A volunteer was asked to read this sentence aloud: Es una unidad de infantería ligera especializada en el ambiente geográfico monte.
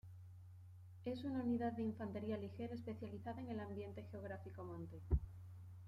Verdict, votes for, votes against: accepted, 2, 0